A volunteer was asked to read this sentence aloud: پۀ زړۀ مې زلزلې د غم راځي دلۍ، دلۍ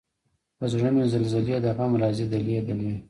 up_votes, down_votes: 1, 2